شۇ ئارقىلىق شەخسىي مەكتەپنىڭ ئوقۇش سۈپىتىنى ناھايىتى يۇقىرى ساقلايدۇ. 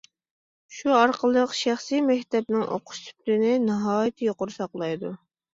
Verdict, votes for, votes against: accepted, 2, 0